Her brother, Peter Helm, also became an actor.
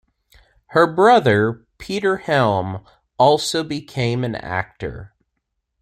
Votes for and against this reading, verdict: 2, 0, accepted